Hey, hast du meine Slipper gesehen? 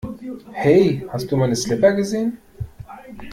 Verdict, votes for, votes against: accepted, 2, 0